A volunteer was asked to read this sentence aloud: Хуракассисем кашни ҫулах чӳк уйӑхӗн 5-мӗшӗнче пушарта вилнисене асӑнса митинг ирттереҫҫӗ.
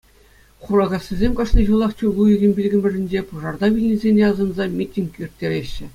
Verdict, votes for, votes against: rejected, 0, 2